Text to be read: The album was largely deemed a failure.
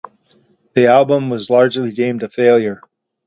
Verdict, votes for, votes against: accepted, 2, 0